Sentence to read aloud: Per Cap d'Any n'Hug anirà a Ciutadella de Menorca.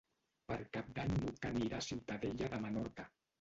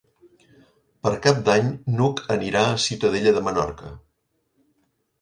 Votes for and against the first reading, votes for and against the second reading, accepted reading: 1, 2, 4, 0, second